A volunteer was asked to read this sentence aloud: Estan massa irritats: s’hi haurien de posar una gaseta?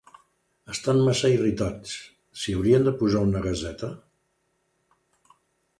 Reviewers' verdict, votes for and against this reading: accepted, 2, 0